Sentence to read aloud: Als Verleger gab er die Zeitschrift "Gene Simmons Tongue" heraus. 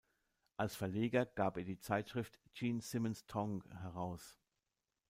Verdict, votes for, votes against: rejected, 0, 2